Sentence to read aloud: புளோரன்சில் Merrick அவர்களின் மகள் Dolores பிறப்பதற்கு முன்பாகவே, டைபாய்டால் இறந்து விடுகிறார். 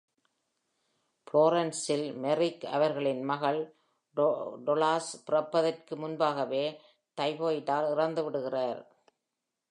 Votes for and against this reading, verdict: 1, 2, rejected